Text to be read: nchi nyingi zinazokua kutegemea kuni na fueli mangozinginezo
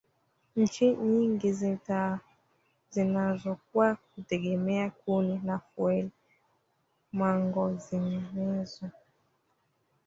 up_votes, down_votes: 0, 2